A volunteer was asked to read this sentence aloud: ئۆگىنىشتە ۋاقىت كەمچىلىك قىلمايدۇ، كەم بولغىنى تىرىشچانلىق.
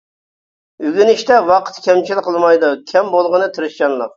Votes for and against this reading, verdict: 1, 2, rejected